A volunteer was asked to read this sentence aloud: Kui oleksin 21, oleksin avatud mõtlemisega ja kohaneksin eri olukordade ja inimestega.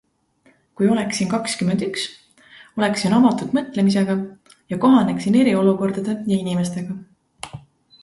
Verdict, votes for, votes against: rejected, 0, 2